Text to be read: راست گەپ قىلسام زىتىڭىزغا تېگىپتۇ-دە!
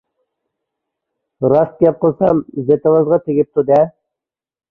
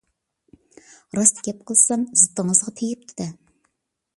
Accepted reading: second